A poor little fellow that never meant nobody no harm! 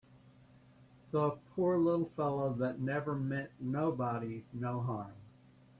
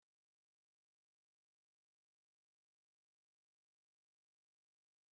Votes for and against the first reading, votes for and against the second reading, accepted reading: 2, 0, 0, 2, first